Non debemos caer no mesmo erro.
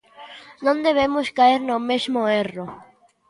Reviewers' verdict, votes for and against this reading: accepted, 2, 0